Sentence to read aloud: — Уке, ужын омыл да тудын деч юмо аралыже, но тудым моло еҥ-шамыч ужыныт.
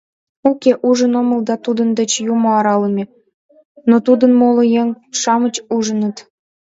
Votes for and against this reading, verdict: 1, 2, rejected